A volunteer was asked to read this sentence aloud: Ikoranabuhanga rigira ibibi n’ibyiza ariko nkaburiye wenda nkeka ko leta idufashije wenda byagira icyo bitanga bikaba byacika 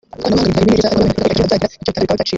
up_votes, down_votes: 0, 3